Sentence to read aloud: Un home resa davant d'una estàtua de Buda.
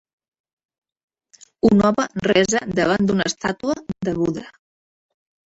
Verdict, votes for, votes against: rejected, 0, 2